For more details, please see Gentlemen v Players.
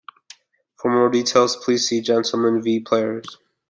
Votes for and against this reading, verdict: 1, 2, rejected